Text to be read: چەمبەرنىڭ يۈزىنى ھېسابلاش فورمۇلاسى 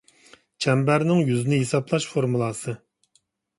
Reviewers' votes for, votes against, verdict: 2, 0, accepted